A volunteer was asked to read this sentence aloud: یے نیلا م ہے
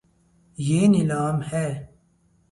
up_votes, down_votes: 6, 2